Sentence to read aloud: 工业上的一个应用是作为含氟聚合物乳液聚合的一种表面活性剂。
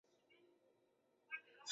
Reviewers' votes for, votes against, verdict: 0, 2, rejected